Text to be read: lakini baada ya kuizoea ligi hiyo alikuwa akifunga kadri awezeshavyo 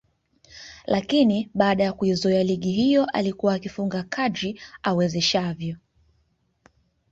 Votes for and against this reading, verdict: 3, 1, accepted